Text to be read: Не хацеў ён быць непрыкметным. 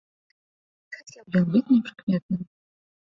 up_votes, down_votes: 0, 3